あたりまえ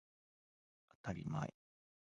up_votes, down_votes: 2, 1